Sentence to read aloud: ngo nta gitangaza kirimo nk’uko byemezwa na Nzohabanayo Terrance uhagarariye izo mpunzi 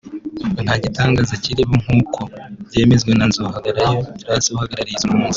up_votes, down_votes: 2, 0